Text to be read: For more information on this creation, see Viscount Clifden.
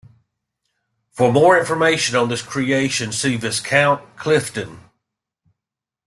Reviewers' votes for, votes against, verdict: 2, 0, accepted